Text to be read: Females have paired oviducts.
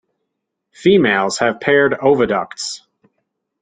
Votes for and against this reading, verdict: 2, 0, accepted